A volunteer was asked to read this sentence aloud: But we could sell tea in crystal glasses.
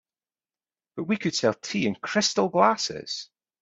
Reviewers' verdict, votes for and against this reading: accepted, 3, 0